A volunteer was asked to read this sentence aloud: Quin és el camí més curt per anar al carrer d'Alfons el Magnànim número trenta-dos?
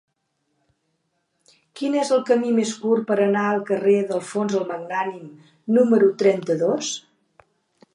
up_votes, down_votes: 2, 0